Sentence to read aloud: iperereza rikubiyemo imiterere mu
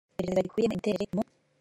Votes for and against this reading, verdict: 1, 2, rejected